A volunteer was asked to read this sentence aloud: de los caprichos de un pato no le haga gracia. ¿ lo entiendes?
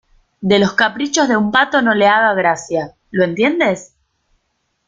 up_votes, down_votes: 2, 0